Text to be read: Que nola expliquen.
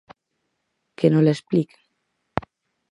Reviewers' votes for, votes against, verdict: 2, 2, rejected